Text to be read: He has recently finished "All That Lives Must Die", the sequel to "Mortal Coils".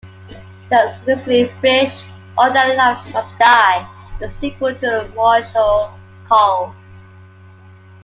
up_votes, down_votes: 1, 2